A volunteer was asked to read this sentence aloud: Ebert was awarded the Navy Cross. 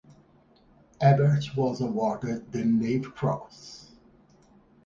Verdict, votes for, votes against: rejected, 2, 2